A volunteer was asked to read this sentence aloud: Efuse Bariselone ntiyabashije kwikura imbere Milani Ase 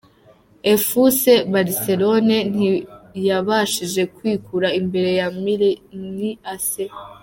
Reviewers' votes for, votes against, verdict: 1, 2, rejected